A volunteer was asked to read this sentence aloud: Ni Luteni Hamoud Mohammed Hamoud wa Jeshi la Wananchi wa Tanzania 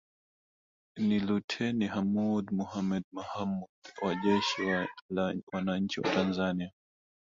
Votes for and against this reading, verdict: 1, 2, rejected